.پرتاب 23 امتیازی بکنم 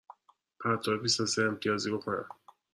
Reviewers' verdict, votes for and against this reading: rejected, 0, 2